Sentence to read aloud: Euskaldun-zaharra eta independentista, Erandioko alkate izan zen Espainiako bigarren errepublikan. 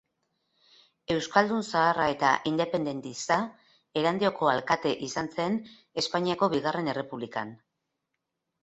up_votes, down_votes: 2, 0